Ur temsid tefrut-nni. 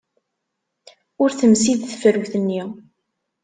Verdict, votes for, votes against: accepted, 2, 0